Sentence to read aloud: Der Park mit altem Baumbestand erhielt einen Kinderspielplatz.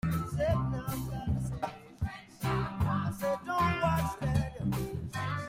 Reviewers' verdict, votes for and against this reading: rejected, 0, 2